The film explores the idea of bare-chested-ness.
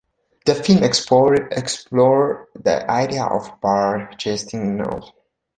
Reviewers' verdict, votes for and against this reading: rejected, 0, 2